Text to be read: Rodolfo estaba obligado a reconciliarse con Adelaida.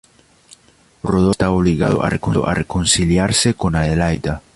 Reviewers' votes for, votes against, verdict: 1, 2, rejected